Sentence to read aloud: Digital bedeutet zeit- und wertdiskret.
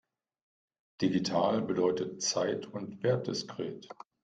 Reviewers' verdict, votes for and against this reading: accepted, 2, 0